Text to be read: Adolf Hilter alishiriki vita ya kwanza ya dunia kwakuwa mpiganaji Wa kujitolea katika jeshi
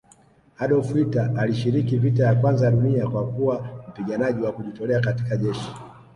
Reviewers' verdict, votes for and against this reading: rejected, 0, 2